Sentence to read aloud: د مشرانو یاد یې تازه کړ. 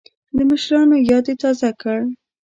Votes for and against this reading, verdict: 2, 0, accepted